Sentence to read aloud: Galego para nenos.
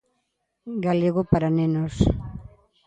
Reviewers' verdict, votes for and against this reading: accepted, 2, 0